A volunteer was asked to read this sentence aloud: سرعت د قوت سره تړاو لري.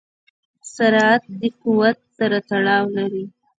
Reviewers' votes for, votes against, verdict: 0, 2, rejected